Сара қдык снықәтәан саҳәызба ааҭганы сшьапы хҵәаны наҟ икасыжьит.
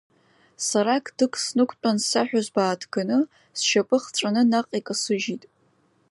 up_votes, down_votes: 2, 0